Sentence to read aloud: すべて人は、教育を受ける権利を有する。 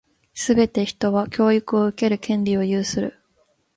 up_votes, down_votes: 1, 2